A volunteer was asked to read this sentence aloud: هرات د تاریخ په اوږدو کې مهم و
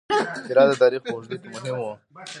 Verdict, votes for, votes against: rejected, 2, 3